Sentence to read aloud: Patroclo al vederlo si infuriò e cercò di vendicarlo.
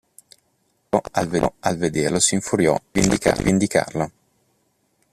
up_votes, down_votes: 0, 2